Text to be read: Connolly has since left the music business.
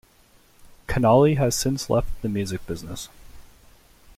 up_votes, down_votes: 2, 1